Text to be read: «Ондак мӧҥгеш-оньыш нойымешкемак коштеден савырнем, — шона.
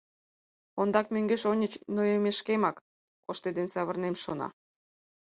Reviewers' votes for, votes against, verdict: 2, 4, rejected